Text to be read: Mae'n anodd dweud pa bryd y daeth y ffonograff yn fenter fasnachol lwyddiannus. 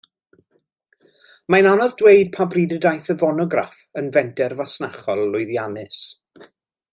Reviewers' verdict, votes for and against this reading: rejected, 0, 2